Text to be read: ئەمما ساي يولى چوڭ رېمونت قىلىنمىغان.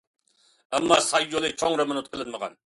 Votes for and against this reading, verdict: 2, 0, accepted